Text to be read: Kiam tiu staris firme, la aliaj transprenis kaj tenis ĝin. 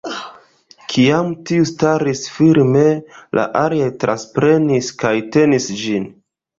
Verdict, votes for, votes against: rejected, 1, 2